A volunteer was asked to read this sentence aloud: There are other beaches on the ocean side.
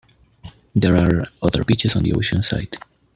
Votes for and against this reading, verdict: 2, 0, accepted